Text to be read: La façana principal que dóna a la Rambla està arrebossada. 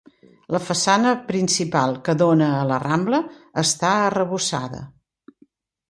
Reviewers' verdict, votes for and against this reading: accepted, 2, 0